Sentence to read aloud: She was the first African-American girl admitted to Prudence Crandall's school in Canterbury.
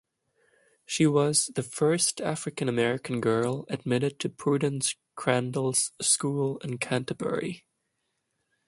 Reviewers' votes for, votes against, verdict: 2, 0, accepted